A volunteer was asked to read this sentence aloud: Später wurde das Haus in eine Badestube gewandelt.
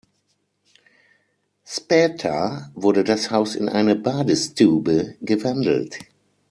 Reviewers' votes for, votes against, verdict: 0, 6, rejected